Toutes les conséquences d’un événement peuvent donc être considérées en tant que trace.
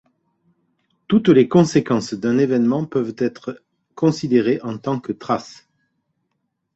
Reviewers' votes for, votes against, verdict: 1, 2, rejected